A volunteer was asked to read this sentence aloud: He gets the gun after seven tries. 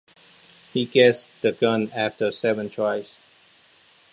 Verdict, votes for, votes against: accepted, 2, 0